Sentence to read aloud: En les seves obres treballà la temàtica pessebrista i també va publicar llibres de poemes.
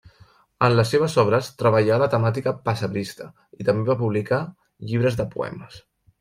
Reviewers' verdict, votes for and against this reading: accepted, 2, 0